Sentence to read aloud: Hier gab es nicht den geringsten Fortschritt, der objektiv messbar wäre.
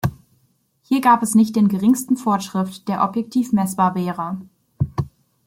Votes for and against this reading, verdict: 0, 2, rejected